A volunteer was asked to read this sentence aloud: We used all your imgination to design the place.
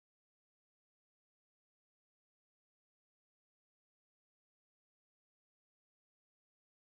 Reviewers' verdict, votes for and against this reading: rejected, 0, 2